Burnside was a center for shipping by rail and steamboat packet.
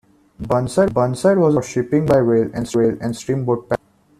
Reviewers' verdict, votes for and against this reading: rejected, 0, 2